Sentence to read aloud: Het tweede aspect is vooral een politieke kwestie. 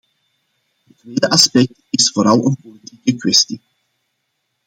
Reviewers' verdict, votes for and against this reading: rejected, 0, 2